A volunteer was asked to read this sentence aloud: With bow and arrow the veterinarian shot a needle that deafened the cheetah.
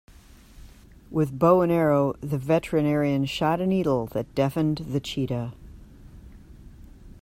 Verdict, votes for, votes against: accepted, 2, 0